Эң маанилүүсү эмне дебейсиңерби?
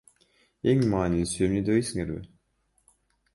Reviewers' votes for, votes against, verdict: 2, 1, accepted